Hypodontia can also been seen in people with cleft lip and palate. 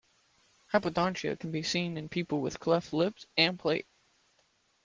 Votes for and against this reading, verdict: 1, 2, rejected